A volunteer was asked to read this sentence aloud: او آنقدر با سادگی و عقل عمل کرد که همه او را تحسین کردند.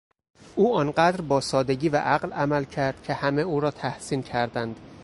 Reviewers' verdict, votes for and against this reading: accepted, 2, 1